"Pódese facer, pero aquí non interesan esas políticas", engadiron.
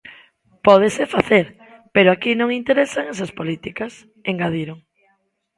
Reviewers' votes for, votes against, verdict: 1, 2, rejected